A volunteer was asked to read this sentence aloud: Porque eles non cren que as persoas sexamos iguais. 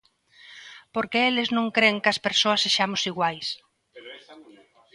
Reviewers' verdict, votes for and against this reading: accepted, 2, 0